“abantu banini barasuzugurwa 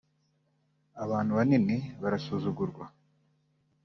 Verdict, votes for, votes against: accepted, 2, 0